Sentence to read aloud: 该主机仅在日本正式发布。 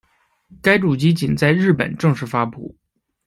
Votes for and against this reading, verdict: 0, 2, rejected